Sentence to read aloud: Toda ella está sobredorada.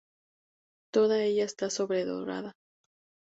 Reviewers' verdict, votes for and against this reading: accepted, 2, 0